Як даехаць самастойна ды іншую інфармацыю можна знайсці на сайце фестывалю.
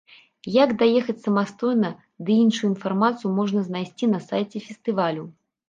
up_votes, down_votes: 3, 0